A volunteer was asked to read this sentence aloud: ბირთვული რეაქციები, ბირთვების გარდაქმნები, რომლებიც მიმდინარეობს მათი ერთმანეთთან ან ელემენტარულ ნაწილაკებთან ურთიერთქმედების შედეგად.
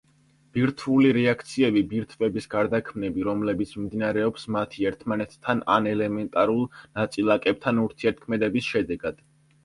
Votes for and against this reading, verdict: 2, 0, accepted